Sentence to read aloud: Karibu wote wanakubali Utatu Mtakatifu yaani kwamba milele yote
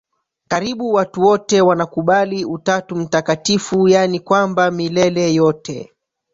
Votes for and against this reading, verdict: 1, 3, rejected